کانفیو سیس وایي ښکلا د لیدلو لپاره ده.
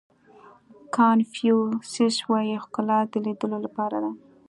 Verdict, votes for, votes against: accepted, 2, 0